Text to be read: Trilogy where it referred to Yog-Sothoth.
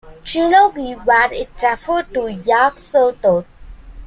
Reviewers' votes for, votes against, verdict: 0, 2, rejected